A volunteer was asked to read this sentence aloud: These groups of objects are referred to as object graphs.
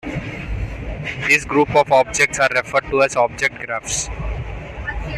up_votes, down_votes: 1, 2